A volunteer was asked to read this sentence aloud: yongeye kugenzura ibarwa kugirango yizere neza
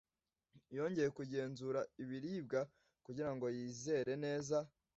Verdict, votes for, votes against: rejected, 1, 2